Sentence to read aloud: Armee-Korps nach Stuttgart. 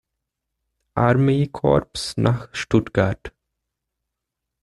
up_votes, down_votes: 2, 0